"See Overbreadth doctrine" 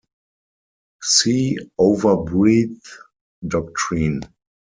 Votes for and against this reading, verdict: 2, 4, rejected